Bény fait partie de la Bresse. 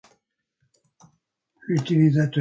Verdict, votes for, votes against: rejected, 0, 2